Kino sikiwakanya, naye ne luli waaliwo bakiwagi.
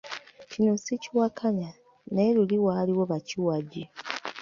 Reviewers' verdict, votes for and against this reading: accepted, 2, 1